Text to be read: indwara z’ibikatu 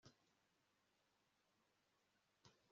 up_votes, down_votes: 1, 2